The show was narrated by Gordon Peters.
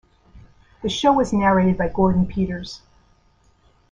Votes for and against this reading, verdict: 2, 0, accepted